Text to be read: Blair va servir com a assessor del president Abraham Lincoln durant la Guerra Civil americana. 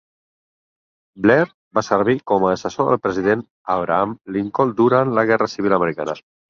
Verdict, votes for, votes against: accepted, 10, 0